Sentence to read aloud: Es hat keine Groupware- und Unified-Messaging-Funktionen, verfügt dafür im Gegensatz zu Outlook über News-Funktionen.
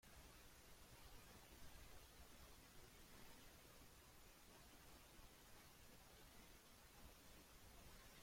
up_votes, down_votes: 0, 2